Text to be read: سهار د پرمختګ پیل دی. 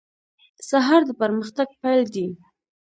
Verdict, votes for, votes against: accepted, 2, 0